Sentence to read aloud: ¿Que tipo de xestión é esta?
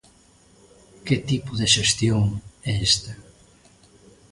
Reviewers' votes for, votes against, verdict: 2, 0, accepted